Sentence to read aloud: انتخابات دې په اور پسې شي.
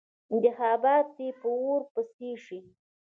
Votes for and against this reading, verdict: 1, 2, rejected